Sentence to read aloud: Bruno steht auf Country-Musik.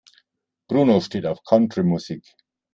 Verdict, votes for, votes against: accepted, 2, 0